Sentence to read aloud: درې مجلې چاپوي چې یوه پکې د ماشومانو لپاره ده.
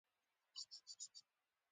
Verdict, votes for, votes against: rejected, 0, 2